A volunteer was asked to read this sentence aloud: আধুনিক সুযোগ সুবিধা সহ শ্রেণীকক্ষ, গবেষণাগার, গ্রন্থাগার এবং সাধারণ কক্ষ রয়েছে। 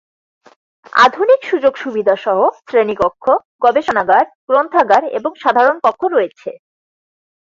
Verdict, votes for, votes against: accepted, 4, 0